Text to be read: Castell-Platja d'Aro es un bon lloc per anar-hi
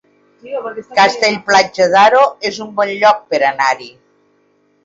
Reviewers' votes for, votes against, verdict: 0, 2, rejected